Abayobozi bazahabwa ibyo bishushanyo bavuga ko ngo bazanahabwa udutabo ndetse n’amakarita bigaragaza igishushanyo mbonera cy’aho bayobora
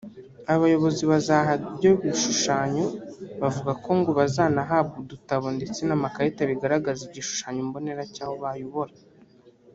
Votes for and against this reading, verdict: 1, 2, rejected